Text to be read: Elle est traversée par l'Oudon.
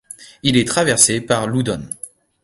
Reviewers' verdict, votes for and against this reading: rejected, 0, 2